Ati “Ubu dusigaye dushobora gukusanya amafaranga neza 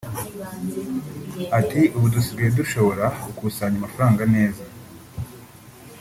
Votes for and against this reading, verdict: 2, 1, accepted